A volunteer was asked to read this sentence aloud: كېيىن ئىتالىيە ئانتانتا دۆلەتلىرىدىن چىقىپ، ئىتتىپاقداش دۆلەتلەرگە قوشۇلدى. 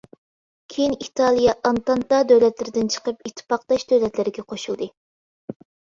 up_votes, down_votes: 2, 0